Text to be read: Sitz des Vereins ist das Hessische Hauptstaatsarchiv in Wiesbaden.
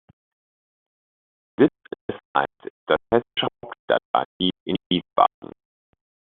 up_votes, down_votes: 0, 2